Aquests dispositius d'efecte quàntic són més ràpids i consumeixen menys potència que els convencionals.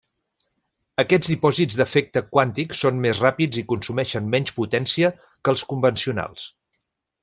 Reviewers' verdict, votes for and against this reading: rejected, 0, 2